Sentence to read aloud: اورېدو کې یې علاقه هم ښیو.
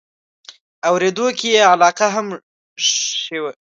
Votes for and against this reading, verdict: 0, 2, rejected